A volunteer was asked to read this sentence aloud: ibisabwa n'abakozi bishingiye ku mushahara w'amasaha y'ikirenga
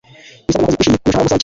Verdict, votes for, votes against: accepted, 2, 0